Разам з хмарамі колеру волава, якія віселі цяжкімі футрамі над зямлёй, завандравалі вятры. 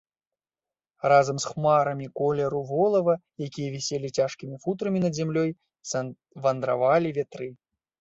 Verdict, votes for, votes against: rejected, 0, 2